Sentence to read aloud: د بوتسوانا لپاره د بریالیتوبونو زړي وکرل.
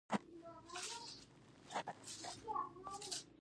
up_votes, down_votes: 0, 2